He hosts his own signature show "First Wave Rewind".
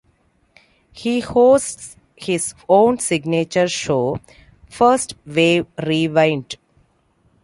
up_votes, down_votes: 2, 0